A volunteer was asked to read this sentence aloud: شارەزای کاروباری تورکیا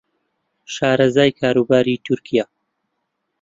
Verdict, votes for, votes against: accepted, 2, 0